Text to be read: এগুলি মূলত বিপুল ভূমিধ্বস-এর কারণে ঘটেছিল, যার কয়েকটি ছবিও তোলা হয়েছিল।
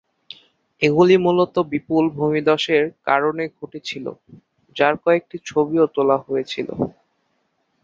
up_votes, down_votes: 6, 0